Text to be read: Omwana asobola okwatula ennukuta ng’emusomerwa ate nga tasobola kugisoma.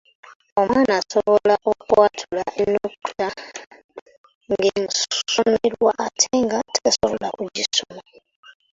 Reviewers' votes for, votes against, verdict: 1, 2, rejected